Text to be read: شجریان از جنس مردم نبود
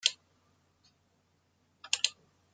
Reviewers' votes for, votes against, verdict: 0, 2, rejected